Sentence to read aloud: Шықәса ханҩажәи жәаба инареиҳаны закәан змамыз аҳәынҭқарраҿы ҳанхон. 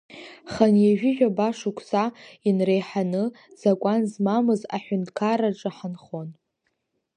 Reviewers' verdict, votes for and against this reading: rejected, 1, 2